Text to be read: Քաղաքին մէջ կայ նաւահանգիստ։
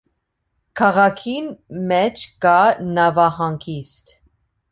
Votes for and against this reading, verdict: 2, 0, accepted